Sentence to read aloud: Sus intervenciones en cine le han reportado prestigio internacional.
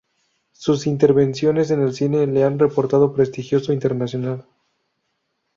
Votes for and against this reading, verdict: 0, 2, rejected